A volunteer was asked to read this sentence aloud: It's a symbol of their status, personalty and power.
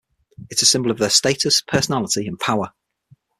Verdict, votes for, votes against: rejected, 3, 6